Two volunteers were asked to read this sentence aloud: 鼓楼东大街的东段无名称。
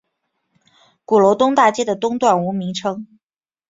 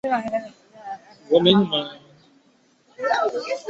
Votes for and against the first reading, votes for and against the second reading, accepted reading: 9, 2, 0, 5, first